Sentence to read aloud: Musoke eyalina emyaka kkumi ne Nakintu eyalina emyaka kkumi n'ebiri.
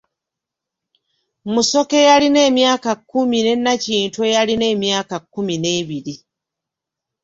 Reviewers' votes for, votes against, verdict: 2, 0, accepted